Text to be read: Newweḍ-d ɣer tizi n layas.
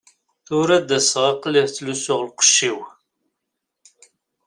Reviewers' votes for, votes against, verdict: 0, 2, rejected